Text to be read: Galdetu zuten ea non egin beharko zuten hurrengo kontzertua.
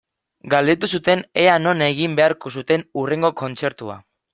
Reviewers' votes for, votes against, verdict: 2, 1, accepted